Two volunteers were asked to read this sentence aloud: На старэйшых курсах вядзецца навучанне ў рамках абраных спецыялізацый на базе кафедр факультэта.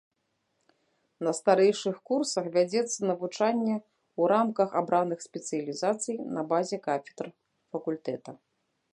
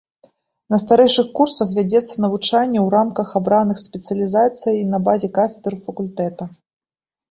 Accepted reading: second